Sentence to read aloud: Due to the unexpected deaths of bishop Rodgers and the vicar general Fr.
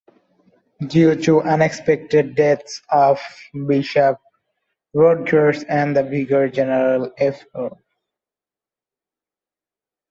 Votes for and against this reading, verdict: 0, 2, rejected